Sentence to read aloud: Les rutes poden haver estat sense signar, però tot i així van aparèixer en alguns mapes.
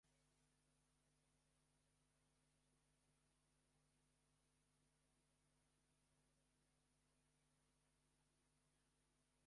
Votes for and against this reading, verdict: 0, 2, rejected